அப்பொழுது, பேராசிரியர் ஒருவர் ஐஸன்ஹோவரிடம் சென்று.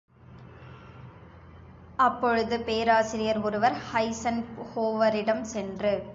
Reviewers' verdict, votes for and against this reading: accepted, 2, 0